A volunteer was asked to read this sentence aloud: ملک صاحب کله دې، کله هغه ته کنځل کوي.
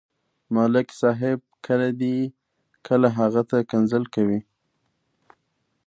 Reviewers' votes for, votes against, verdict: 2, 0, accepted